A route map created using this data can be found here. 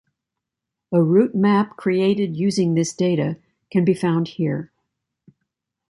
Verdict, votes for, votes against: accepted, 2, 0